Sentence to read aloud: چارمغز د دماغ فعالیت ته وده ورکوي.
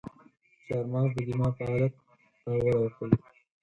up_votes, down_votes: 0, 4